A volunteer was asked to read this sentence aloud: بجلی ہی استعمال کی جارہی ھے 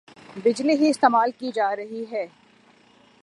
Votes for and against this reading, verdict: 9, 0, accepted